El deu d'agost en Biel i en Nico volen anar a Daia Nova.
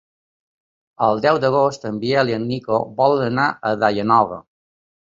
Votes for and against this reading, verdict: 3, 0, accepted